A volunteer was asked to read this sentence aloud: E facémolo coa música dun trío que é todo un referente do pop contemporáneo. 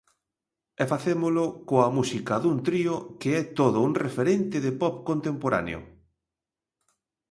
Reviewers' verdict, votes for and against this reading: rejected, 0, 2